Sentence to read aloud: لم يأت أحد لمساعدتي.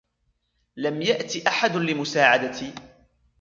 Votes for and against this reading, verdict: 2, 0, accepted